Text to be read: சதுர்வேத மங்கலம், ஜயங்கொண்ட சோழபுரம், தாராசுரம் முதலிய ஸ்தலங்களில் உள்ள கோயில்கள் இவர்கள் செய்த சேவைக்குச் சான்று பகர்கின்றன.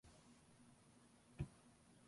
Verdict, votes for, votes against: rejected, 0, 2